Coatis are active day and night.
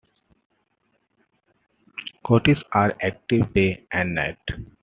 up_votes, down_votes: 2, 0